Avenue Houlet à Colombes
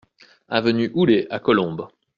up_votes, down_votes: 2, 0